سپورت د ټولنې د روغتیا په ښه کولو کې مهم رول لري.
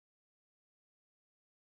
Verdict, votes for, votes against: rejected, 0, 2